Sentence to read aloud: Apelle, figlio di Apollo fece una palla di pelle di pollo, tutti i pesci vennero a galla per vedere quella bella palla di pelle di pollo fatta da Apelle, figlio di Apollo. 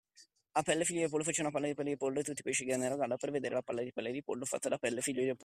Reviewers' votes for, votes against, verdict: 1, 2, rejected